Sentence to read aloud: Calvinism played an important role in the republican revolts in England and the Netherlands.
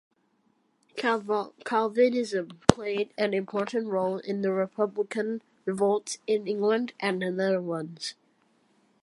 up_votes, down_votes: 2, 1